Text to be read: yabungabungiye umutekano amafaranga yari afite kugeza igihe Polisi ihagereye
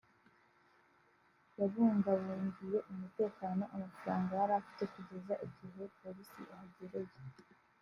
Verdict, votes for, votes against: accepted, 2, 0